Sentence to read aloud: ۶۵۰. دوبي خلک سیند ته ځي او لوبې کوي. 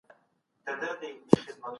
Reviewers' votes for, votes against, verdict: 0, 2, rejected